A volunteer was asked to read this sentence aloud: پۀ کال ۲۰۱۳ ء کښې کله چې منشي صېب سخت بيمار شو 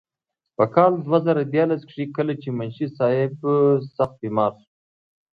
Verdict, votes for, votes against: rejected, 0, 2